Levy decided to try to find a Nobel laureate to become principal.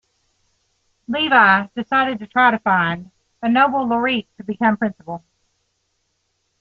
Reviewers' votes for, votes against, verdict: 2, 0, accepted